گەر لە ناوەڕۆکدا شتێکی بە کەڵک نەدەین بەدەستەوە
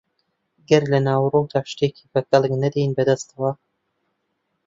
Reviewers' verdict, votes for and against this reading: accepted, 2, 0